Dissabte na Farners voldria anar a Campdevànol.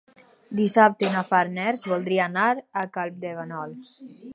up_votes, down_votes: 0, 4